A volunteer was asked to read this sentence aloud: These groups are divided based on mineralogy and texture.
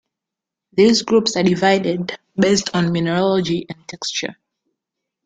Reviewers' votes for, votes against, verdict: 1, 3, rejected